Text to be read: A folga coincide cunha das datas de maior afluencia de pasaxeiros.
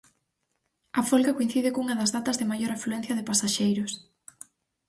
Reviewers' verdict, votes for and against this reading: accepted, 4, 0